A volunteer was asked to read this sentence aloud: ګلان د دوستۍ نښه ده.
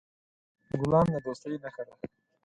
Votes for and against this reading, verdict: 4, 0, accepted